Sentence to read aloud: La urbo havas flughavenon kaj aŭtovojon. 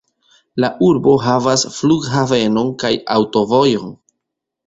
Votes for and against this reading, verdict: 0, 2, rejected